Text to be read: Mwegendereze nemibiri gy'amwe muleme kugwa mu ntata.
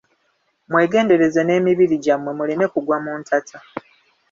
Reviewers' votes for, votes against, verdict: 2, 0, accepted